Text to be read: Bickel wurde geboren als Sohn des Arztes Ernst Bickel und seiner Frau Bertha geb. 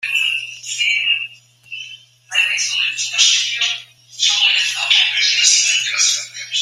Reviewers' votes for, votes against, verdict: 0, 2, rejected